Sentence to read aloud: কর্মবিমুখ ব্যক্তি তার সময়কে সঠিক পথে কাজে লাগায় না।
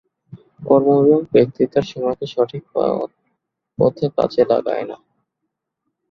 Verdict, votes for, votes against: rejected, 1, 4